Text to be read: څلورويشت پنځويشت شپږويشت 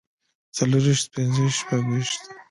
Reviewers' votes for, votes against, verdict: 2, 0, accepted